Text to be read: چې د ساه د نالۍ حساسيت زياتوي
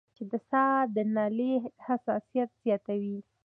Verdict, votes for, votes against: accepted, 2, 0